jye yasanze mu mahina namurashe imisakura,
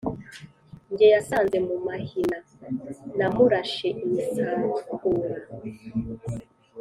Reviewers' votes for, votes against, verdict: 4, 0, accepted